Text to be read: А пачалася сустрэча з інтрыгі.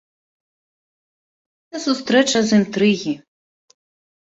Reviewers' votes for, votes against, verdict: 1, 2, rejected